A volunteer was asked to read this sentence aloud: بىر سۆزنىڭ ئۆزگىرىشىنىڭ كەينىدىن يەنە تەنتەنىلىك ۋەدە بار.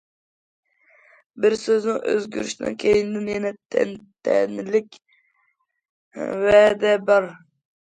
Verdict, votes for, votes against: rejected, 1, 2